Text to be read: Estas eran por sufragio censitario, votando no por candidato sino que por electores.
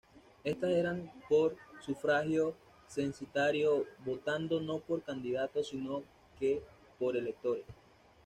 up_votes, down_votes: 1, 2